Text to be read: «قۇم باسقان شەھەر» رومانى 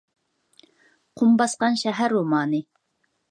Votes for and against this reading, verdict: 2, 0, accepted